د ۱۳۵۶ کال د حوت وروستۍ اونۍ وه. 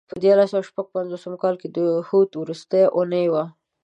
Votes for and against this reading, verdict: 0, 2, rejected